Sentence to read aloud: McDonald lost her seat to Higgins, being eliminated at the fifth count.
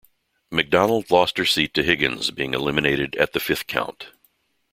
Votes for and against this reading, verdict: 2, 0, accepted